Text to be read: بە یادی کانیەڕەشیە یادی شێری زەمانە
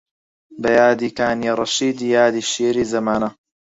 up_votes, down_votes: 0, 4